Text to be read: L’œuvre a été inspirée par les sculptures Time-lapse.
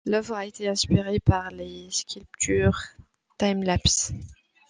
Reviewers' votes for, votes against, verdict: 2, 0, accepted